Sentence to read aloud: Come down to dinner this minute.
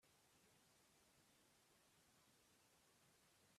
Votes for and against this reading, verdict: 0, 2, rejected